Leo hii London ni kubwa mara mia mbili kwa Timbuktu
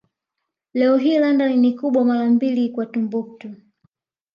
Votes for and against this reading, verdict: 1, 2, rejected